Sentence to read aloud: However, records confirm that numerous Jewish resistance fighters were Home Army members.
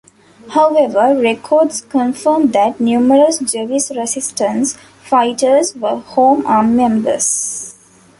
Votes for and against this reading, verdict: 0, 2, rejected